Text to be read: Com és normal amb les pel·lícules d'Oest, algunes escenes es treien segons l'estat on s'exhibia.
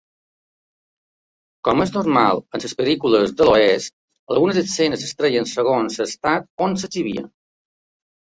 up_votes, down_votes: 0, 2